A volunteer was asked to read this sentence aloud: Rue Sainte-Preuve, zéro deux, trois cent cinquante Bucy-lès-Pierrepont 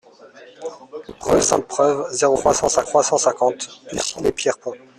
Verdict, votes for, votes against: rejected, 0, 2